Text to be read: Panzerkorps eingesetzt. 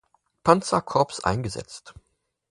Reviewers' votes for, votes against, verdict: 2, 4, rejected